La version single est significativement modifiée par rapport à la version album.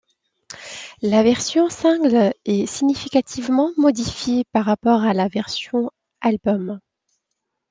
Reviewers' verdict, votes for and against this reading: rejected, 0, 2